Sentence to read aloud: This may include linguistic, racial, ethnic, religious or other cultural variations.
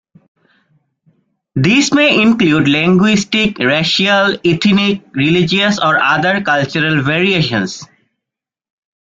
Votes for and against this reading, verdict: 1, 2, rejected